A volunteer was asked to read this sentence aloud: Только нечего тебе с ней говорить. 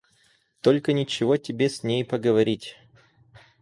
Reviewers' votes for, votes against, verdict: 2, 4, rejected